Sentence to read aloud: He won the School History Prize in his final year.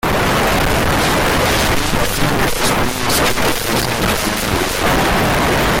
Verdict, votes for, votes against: rejected, 0, 2